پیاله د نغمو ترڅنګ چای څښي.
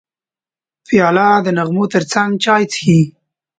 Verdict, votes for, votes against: accepted, 2, 0